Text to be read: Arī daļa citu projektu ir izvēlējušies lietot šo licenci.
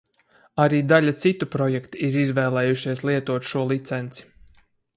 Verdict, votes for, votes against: accepted, 4, 0